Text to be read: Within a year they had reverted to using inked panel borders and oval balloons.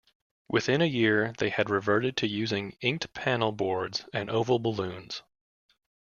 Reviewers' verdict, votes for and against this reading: rejected, 0, 2